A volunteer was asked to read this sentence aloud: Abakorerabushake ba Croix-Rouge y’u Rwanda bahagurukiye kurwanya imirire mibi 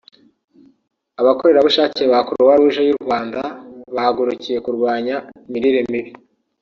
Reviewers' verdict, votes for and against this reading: rejected, 1, 2